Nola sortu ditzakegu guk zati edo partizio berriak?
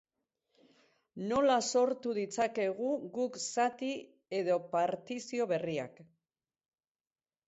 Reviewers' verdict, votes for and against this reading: accepted, 4, 0